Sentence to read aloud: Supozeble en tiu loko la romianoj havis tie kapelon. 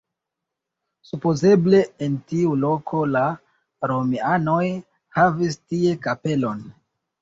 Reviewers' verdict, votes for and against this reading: accepted, 2, 0